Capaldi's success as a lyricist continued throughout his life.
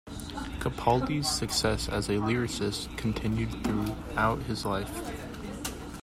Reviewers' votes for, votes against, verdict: 1, 2, rejected